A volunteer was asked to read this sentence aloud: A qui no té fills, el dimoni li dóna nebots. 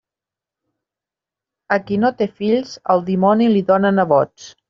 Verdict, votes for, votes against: accepted, 2, 0